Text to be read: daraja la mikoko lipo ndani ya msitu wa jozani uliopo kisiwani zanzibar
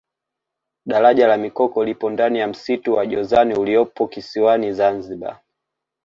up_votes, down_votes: 2, 0